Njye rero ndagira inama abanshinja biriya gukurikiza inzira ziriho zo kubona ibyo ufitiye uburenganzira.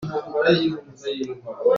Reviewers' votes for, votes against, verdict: 0, 2, rejected